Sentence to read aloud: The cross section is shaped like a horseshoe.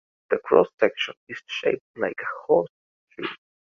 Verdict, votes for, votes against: accepted, 2, 1